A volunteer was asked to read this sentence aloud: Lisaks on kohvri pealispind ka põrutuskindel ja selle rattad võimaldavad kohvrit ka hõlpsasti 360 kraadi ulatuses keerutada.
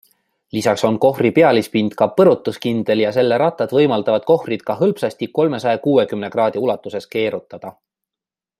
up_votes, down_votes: 0, 2